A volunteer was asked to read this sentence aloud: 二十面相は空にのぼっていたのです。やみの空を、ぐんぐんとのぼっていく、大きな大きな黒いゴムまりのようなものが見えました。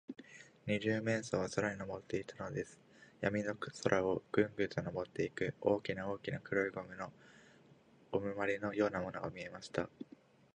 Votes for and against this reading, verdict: 0, 2, rejected